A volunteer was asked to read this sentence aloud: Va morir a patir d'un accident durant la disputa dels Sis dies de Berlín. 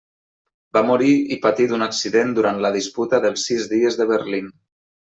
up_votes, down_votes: 0, 2